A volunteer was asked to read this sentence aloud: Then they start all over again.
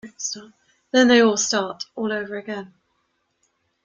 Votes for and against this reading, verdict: 1, 2, rejected